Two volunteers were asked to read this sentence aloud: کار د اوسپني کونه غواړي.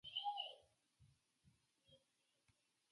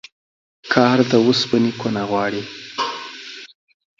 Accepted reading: second